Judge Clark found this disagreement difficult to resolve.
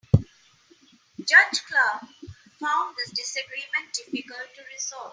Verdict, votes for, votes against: rejected, 2, 3